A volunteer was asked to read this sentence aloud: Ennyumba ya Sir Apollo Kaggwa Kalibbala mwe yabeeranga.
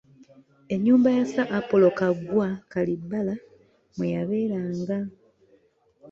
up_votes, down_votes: 2, 0